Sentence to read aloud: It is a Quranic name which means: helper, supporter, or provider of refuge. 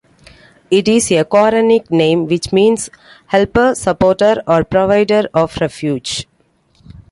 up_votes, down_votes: 2, 0